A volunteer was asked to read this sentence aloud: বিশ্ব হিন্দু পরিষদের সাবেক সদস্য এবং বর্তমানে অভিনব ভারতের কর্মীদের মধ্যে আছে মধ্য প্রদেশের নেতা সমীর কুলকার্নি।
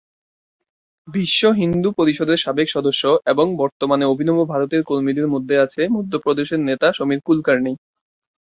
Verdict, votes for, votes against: accepted, 2, 0